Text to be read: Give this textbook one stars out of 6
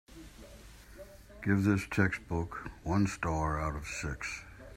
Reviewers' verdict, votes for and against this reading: rejected, 0, 2